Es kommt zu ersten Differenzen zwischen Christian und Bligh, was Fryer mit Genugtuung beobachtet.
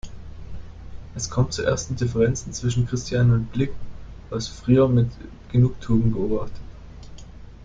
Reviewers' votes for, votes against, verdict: 0, 2, rejected